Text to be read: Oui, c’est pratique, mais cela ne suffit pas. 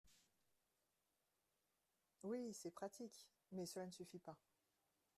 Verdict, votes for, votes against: accepted, 2, 1